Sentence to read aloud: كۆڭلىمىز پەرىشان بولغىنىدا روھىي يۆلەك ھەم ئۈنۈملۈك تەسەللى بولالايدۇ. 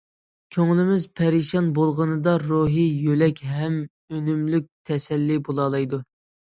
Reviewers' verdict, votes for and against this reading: accepted, 2, 0